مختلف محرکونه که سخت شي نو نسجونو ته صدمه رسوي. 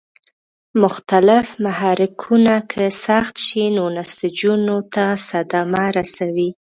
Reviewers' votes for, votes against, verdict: 2, 0, accepted